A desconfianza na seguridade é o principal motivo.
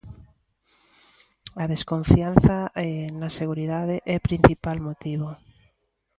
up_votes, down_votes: 0, 2